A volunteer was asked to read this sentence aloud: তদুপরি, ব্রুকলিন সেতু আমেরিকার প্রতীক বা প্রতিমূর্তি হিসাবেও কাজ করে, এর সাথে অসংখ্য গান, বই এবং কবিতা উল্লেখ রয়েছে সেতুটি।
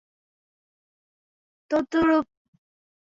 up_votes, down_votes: 0, 2